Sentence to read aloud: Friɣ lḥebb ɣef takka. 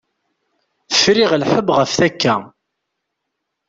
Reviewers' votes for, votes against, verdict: 2, 0, accepted